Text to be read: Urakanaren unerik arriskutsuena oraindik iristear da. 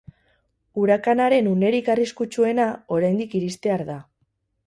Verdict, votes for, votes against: rejected, 0, 2